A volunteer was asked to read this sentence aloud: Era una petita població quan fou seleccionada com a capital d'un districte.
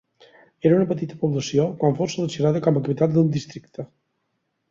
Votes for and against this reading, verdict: 2, 8, rejected